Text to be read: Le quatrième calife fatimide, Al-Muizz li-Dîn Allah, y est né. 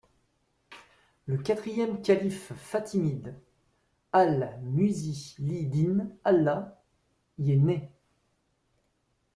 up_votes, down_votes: 0, 2